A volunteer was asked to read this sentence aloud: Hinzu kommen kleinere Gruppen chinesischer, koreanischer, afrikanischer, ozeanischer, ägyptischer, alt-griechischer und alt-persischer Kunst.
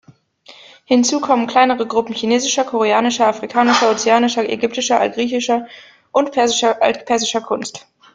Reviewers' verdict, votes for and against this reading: rejected, 0, 2